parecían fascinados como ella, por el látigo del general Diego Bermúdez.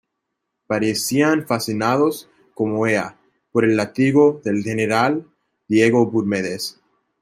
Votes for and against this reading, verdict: 0, 2, rejected